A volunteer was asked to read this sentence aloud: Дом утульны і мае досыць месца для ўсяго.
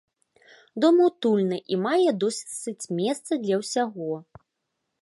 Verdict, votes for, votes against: rejected, 0, 3